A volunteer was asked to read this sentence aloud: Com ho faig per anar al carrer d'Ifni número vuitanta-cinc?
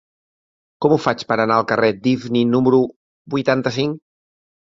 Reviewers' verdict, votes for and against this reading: accepted, 2, 0